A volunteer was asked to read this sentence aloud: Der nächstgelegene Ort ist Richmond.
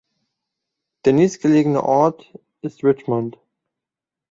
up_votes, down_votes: 2, 0